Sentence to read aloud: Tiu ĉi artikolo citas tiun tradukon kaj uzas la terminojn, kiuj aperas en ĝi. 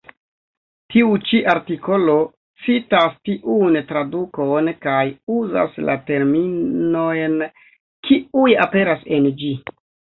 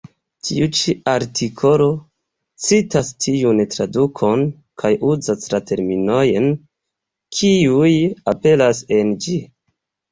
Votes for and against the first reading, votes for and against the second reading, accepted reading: 0, 2, 2, 0, second